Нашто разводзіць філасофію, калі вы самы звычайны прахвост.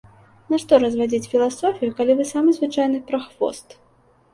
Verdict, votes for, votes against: rejected, 1, 2